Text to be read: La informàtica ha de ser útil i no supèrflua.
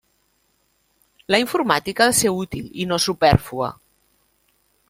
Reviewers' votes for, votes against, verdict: 1, 2, rejected